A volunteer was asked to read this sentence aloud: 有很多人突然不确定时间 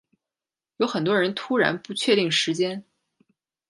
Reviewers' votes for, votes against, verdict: 2, 0, accepted